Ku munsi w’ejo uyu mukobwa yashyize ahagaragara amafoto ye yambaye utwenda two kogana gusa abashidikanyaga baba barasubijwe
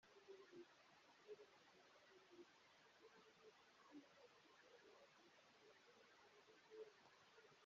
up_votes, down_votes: 0, 2